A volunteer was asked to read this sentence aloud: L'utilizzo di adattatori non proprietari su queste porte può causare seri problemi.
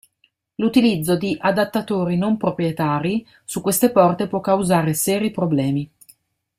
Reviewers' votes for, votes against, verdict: 1, 2, rejected